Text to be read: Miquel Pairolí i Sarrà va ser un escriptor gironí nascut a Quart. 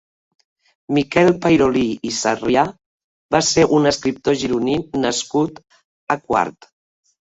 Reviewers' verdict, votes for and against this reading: rejected, 0, 2